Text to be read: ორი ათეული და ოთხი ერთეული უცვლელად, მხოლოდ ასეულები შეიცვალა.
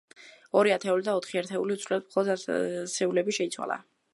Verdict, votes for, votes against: rejected, 0, 2